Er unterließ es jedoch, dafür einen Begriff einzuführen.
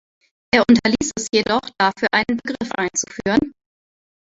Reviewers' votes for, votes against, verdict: 2, 1, accepted